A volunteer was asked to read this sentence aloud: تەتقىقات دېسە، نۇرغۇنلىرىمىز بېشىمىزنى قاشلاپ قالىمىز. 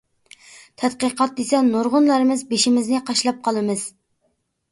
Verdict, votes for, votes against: accepted, 2, 0